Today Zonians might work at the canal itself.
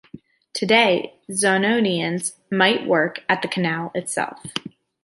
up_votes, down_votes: 1, 2